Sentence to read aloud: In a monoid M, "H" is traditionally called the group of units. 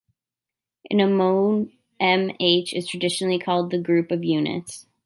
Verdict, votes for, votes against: rejected, 1, 2